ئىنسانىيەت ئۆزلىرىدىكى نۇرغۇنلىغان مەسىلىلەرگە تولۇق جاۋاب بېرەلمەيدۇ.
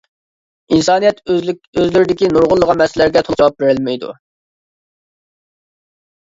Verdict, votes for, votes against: rejected, 0, 2